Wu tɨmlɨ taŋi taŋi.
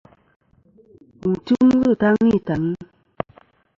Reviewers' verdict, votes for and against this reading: rejected, 1, 2